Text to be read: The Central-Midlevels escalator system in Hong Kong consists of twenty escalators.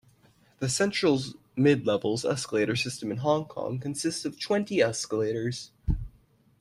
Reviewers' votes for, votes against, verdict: 1, 2, rejected